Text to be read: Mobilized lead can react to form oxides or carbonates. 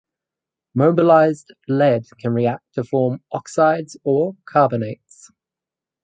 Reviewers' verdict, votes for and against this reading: accepted, 4, 2